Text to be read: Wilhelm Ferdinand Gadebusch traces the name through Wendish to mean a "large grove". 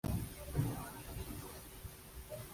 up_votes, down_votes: 0, 2